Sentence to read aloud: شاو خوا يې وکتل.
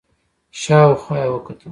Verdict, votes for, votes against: accepted, 2, 0